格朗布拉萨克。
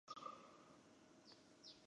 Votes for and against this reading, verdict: 2, 3, rejected